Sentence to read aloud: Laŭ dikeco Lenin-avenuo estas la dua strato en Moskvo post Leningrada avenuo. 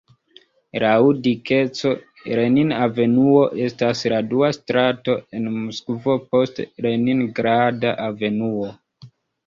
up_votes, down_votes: 2, 1